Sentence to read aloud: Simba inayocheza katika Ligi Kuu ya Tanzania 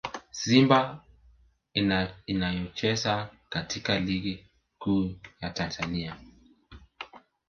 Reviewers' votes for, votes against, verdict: 2, 1, accepted